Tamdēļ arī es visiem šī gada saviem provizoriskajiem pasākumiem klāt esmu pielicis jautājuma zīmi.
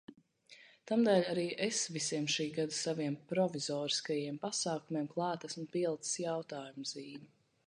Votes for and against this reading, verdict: 2, 0, accepted